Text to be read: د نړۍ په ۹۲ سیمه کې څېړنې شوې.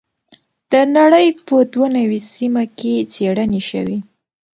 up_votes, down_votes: 0, 2